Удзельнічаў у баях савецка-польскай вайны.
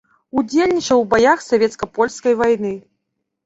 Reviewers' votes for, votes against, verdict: 2, 0, accepted